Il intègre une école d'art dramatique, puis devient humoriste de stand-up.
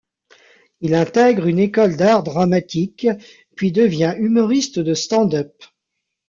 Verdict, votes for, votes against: rejected, 1, 2